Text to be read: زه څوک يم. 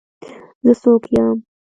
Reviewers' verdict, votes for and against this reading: accepted, 2, 1